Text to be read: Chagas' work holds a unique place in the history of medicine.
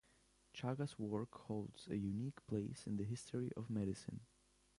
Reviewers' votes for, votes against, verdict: 3, 0, accepted